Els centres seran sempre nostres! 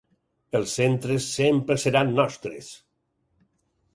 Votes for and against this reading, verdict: 2, 4, rejected